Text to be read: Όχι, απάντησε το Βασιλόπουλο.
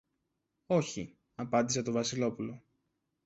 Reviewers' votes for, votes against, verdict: 2, 0, accepted